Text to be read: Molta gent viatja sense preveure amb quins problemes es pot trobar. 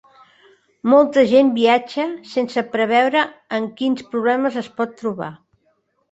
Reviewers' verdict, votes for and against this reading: accepted, 3, 0